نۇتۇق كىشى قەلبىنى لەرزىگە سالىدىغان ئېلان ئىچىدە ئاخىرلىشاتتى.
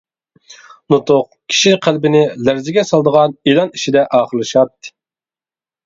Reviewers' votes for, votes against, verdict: 2, 0, accepted